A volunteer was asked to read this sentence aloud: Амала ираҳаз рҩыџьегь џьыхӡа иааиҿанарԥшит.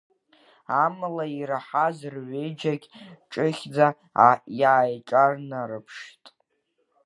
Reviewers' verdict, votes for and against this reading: rejected, 0, 2